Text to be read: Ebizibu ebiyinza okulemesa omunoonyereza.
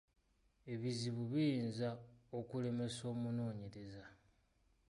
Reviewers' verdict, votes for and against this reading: rejected, 2, 3